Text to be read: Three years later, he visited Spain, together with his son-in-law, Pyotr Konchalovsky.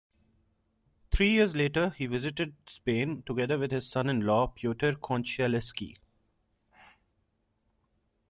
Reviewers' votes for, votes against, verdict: 1, 2, rejected